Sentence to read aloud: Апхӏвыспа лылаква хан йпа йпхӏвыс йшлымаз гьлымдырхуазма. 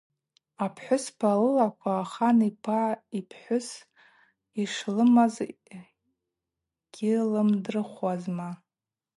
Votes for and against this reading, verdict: 2, 0, accepted